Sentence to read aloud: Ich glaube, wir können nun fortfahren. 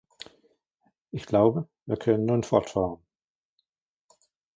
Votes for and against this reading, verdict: 2, 1, accepted